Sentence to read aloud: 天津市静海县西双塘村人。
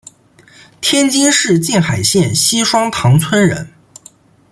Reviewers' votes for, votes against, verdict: 2, 0, accepted